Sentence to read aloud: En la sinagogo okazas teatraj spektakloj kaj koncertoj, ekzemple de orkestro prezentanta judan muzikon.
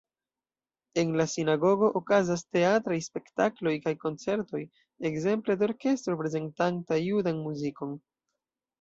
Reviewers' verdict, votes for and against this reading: accepted, 2, 0